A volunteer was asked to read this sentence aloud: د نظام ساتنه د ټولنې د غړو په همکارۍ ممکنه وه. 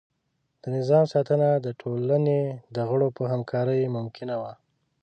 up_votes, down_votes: 2, 0